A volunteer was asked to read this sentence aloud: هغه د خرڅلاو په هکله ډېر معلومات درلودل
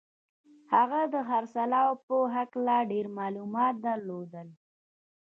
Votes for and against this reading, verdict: 1, 2, rejected